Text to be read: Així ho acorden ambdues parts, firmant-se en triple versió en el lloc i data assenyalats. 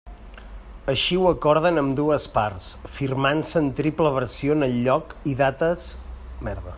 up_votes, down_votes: 0, 2